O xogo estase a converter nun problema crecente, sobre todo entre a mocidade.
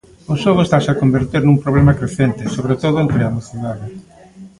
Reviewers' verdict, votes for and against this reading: rejected, 0, 2